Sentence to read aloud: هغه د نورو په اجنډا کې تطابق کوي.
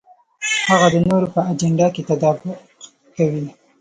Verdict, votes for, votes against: rejected, 0, 2